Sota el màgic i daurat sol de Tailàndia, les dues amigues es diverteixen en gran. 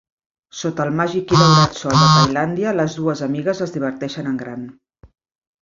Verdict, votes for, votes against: rejected, 0, 2